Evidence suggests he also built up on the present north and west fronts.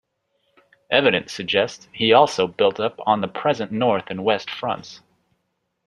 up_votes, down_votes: 2, 0